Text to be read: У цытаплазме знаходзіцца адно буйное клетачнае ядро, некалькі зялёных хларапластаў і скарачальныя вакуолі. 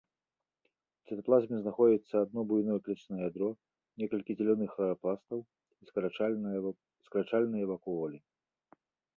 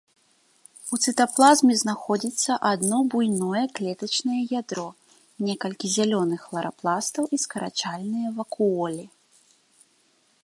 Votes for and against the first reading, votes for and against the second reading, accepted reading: 0, 2, 3, 0, second